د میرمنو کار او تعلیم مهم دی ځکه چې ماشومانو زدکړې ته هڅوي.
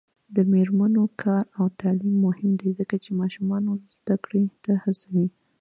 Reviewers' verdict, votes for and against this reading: accepted, 2, 1